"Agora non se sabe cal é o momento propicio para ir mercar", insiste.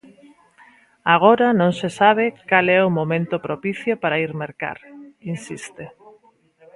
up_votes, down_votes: 1, 2